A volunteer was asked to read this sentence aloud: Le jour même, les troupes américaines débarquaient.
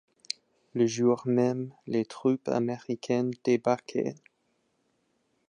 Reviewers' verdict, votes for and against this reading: accepted, 2, 0